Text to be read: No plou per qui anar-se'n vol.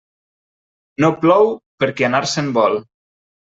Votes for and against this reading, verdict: 2, 0, accepted